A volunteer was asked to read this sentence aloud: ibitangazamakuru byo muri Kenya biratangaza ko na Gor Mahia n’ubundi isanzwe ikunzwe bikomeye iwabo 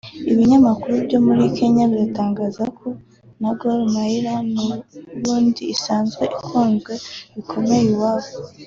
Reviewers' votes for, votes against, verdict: 2, 0, accepted